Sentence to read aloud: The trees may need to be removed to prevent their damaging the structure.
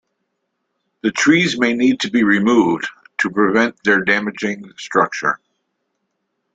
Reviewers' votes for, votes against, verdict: 0, 2, rejected